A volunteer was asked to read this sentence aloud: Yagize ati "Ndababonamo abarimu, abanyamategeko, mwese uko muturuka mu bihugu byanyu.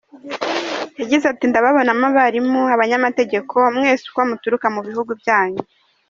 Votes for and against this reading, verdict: 2, 0, accepted